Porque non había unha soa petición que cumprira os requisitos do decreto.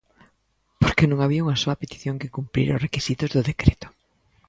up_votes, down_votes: 2, 0